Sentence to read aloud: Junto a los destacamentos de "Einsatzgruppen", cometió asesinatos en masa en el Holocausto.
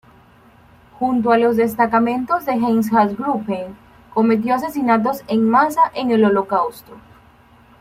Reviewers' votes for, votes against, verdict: 2, 0, accepted